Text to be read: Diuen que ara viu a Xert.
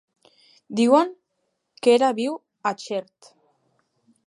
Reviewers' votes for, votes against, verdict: 1, 2, rejected